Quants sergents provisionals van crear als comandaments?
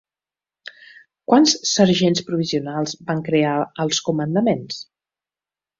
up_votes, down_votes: 2, 0